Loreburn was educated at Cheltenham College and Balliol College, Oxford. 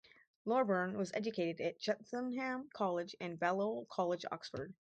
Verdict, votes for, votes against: accepted, 4, 2